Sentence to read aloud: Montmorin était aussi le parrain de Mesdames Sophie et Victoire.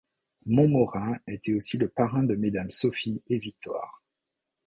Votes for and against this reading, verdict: 2, 0, accepted